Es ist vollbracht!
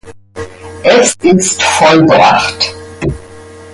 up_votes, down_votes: 2, 0